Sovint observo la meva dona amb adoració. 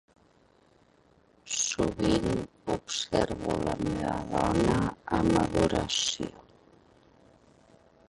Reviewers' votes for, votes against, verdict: 1, 2, rejected